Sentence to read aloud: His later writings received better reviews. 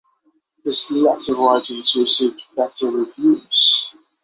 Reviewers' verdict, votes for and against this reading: rejected, 3, 3